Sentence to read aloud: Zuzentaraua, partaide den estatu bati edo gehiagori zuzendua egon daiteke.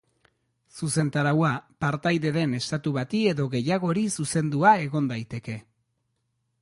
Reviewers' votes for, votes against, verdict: 4, 0, accepted